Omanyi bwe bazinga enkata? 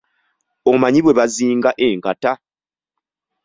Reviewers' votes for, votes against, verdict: 2, 0, accepted